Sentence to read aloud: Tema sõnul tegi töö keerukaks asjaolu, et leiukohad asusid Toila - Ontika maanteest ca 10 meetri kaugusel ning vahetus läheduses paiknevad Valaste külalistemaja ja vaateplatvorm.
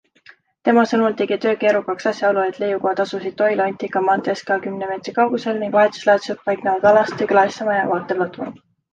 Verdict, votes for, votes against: rejected, 0, 2